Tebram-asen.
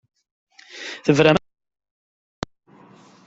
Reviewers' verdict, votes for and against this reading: rejected, 0, 2